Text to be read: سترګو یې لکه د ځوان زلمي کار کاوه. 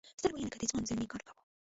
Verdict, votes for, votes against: rejected, 1, 2